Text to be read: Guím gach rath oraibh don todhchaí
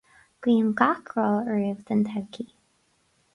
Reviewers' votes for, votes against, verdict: 2, 4, rejected